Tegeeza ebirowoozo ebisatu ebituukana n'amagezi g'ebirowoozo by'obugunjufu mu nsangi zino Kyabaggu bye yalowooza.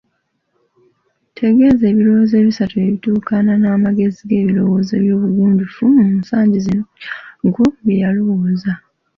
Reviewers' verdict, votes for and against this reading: accepted, 2, 1